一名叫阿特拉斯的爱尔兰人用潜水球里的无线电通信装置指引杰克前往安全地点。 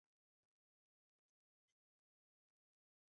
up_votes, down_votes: 0, 2